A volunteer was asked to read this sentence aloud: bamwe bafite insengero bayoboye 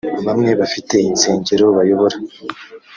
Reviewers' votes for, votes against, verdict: 0, 2, rejected